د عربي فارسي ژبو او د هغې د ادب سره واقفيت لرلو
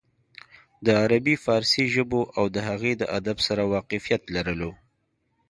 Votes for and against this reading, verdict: 2, 0, accepted